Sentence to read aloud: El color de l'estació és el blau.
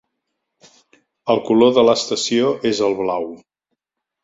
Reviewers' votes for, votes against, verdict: 3, 0, accepted